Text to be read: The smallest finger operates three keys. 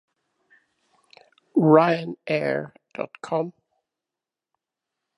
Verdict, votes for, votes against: rejected, 1, 2